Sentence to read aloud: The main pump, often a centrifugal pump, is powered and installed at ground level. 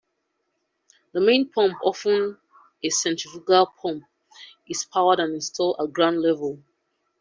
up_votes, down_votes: 2, 0